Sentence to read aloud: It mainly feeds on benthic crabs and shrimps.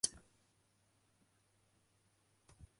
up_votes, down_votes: 0, 2